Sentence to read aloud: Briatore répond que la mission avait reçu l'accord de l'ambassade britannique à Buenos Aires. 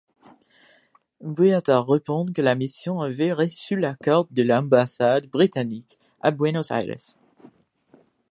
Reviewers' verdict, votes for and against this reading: rejected, 0, 2